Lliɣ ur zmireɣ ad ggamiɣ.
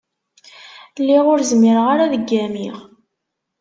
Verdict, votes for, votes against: rejected, 1, 2